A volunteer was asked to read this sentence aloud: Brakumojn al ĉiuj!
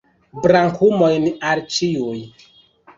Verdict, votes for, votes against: rejected, 0, 2